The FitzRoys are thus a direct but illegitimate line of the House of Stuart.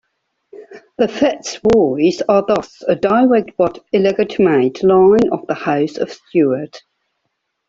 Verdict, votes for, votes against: accepted, 2, 1